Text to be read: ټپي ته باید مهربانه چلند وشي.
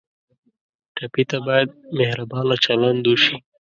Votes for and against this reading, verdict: 2, 0, accepted